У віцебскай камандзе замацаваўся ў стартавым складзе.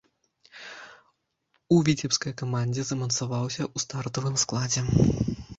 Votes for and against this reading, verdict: 2, 0, accepted